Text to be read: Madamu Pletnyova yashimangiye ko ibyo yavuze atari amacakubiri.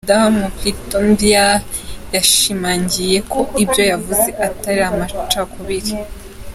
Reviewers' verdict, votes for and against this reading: accepted, 2, 0